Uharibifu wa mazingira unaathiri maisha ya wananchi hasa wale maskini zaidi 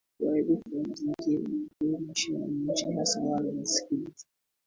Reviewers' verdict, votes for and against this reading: rejected, 0, 3